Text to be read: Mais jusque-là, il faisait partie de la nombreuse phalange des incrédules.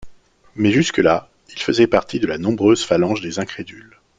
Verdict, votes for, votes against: accepted, 2, 0